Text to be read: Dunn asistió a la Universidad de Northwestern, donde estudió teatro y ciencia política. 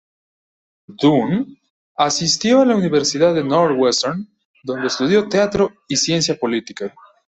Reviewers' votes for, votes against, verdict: 2, 0, accepted